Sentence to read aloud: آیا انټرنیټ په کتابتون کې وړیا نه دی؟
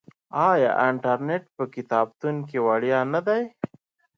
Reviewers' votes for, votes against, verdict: 2, 0, accepted